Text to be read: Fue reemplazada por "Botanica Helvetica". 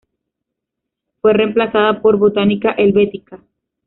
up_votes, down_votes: 0, 2